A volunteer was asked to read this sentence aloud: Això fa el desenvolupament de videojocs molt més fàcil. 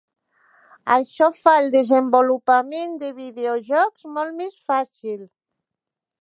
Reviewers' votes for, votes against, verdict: 3, 0, accepted